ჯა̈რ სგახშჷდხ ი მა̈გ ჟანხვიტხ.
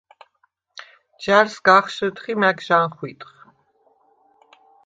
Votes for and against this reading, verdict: 2, 0, accepted